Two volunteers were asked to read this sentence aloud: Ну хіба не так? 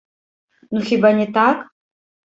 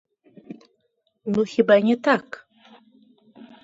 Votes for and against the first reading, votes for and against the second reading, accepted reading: 0, 2, 2, 1, second